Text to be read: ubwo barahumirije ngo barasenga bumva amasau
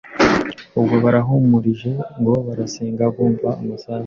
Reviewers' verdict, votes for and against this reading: rejected, 0, 2